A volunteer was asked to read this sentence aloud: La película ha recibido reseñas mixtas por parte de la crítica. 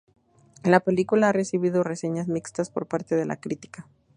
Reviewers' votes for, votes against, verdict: 0, 2, rejected